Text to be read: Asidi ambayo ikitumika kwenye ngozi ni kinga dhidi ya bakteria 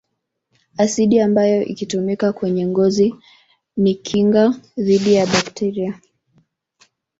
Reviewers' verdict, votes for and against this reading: accepted, 2, 0